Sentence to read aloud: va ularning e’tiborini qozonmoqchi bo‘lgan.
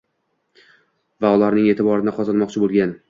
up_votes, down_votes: 2, 0